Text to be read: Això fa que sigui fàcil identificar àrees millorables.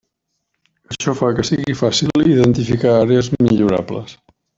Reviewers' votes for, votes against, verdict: 1, 2, rejected